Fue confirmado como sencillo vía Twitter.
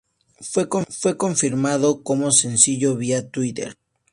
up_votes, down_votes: 0, 2